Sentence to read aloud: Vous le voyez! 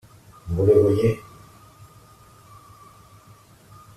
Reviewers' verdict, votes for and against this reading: accepted, 2, 0